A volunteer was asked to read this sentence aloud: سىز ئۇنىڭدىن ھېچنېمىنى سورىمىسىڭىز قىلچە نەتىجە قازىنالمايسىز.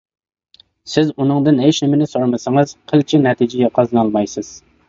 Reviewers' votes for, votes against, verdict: 1, 2, rejected